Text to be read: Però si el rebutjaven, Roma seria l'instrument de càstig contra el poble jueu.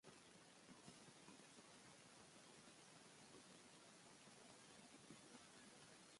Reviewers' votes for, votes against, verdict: 0, 2, rejected